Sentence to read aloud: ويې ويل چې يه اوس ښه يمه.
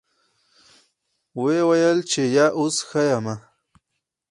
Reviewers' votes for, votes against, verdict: 4, 0, accepted